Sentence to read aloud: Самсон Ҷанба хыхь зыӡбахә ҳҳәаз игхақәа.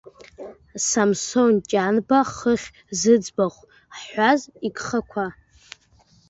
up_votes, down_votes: 1, 2